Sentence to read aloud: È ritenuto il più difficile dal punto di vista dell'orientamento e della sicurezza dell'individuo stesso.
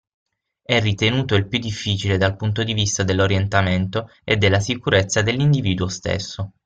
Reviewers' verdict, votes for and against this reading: accepted, 6, 0